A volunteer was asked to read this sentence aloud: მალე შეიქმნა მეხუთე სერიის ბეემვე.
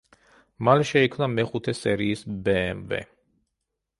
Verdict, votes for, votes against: accepted, 2, 0